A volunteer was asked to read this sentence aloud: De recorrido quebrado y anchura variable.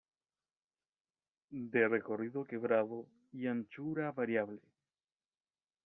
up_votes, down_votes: 1, 2